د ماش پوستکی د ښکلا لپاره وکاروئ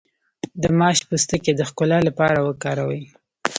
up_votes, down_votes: 0, 2